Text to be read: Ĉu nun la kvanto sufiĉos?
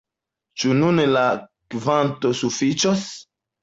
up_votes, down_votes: 2, 0